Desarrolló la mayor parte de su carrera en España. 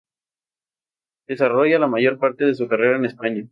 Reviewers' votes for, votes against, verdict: 2, 0, accepted